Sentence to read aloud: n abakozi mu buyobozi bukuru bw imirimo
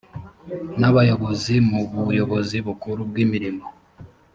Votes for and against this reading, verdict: 1, 2, rejected